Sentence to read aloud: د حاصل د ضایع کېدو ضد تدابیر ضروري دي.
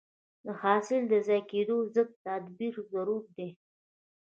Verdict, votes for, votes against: rejected, 1, 2